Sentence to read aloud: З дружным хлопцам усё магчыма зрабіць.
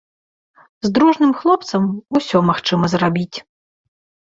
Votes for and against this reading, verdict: 2, 0, accepted